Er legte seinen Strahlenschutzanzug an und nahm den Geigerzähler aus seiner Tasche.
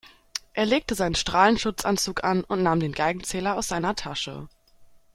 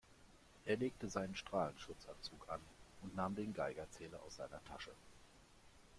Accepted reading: second